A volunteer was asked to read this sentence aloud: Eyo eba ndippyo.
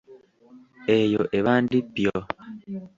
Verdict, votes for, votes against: rejected, 1, 2